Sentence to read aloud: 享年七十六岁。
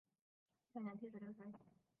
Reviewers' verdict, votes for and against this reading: rejected, 0, 5